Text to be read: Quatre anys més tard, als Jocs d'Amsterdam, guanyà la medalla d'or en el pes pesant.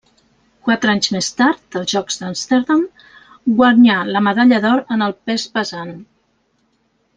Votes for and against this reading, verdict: 0, 2, rejected